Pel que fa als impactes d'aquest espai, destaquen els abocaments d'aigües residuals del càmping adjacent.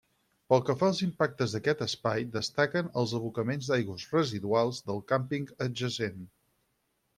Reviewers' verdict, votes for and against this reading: accepted, 6, 0